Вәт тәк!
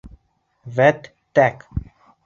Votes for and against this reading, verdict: 3, 0, accepted